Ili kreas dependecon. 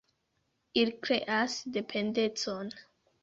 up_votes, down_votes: 2, 1